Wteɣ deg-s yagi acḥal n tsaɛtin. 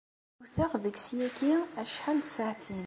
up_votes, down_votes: 2, 0